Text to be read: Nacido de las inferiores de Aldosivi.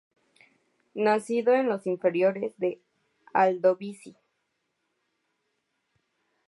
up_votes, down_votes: 0, 2